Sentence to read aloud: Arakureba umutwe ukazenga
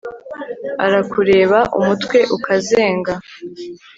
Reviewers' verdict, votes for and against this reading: accepted, 3, 0